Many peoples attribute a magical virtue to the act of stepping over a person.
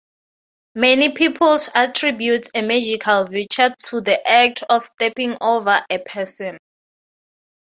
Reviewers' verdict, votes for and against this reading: accepted, 6, 0